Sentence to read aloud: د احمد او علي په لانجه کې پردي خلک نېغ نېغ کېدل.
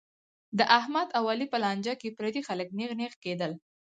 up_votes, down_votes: 2, 6